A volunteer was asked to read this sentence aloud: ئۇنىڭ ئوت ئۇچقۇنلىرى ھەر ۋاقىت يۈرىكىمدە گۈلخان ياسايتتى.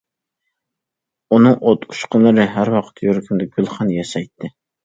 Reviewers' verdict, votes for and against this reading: accepted, 2, 0